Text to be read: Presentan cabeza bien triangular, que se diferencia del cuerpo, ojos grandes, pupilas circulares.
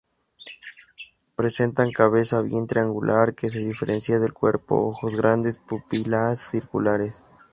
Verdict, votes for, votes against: accepted, 2, 0